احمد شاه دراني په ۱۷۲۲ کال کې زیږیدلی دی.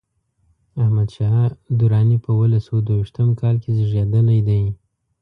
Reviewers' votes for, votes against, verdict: 0, 2, rejected